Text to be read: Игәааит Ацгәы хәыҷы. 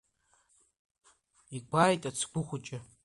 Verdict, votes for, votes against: accepted, 2, 1